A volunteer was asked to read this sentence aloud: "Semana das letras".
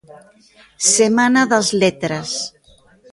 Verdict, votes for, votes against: accepted, 2, 0